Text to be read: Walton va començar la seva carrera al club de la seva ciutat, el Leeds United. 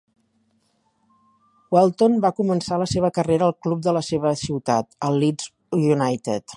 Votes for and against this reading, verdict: 2, 0, accepted